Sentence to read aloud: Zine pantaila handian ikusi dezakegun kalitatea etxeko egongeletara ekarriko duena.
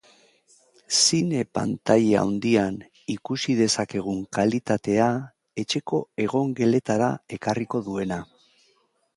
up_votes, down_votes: 2, 0